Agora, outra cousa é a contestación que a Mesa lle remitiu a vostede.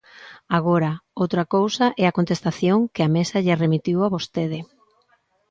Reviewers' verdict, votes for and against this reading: accepted, 2, 0